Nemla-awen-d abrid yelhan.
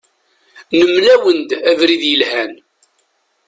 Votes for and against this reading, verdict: 1, 2, rejected